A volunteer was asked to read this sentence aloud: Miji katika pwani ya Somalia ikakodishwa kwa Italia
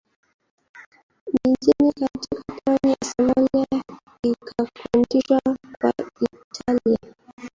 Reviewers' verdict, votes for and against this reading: rejected, 0, 2